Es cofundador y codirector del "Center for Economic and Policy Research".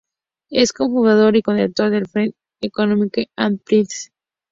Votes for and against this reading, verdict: 2, 0, accepted